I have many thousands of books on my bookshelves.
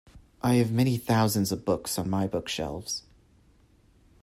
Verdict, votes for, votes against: accepted, 2, 0